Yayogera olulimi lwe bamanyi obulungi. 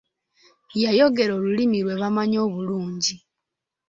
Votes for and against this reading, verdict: 2, 0, accepted